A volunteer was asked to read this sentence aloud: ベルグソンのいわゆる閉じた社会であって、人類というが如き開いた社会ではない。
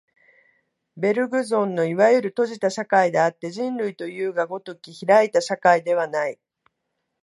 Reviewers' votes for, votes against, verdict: 2, 0, accepted